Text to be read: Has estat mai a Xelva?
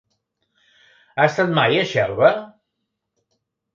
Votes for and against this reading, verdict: 1, 2, rejected